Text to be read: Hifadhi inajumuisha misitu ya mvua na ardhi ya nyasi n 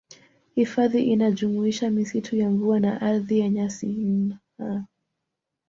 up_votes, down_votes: 2, 1